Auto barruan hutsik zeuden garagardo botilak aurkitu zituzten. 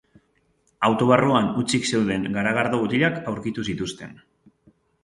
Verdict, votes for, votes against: accepted, 3, 0